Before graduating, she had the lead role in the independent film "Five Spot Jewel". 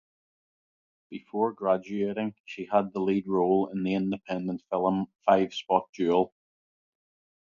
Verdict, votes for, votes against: accepted, 2, 0